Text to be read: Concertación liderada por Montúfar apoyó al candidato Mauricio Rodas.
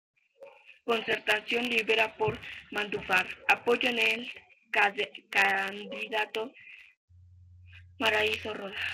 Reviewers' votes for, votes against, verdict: 0, 2, rejected